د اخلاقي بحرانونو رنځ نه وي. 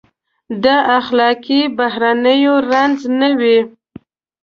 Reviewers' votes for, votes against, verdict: 1, 2, rejected